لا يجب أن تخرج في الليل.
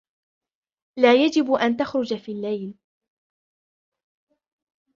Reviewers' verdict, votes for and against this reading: rejected, 0, 2